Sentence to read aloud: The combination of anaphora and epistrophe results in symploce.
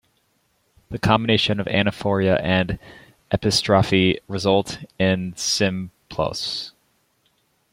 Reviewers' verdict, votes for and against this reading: rejected, 1, 2